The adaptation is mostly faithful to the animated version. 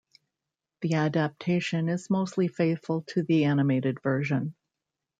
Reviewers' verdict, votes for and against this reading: rejected, 0, 2